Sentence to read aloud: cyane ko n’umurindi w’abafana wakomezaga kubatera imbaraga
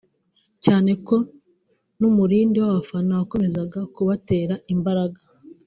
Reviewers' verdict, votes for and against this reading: accepted, 2, 0